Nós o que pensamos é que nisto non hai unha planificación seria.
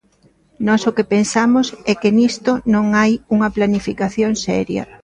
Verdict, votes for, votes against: accepted, 2, 0